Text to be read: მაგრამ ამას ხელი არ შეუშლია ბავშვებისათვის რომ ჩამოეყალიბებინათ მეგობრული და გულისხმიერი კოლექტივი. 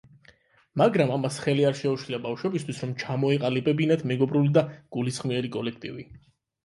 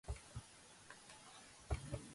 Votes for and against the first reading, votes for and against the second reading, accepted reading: 8, 4, 1, 2, first